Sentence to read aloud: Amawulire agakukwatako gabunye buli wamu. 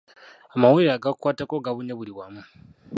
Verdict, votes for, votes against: rejected, 1, 2